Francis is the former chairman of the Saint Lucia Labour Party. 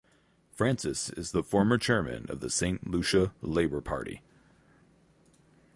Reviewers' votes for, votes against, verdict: 4, 0, accepted